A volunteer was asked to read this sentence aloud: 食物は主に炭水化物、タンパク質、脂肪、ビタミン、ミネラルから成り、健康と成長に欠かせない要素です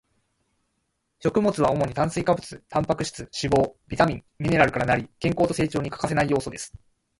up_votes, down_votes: 1, 2